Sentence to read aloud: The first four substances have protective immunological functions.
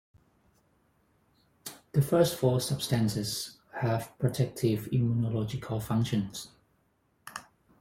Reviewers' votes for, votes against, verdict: 4, 0, accepted